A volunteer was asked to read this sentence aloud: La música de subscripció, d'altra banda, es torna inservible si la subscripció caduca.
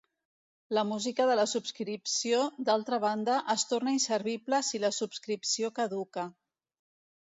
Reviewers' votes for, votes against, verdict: 1, 2, rejected